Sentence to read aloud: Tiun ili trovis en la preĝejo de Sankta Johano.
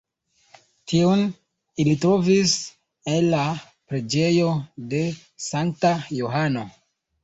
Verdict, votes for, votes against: rejected, 1, 2